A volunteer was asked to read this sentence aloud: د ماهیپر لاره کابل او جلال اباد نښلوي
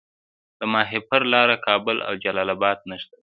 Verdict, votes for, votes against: rejected, 1, 2